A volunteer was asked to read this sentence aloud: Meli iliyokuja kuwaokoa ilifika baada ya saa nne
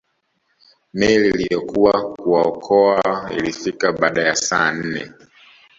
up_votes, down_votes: 1, 2